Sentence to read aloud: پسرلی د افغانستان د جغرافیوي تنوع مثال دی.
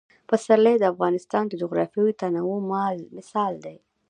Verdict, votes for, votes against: rejected, 0, 2